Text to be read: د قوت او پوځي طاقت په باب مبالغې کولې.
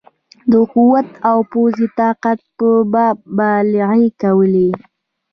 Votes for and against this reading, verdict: 2, 1, accepted